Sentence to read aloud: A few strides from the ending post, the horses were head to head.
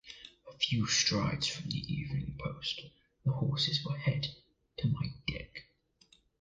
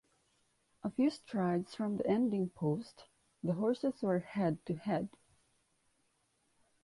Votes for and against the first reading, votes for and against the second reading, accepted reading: 1, 2, 2, 0, second